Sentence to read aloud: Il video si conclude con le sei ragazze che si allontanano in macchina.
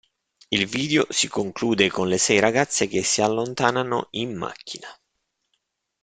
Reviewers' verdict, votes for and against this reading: accepted, 2, 0